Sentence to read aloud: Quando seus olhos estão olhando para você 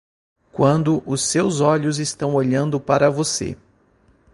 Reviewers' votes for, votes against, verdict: 0, 2, rejected